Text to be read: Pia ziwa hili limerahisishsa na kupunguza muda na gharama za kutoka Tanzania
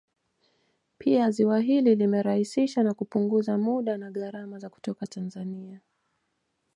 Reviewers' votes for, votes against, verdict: 2, 1, accepted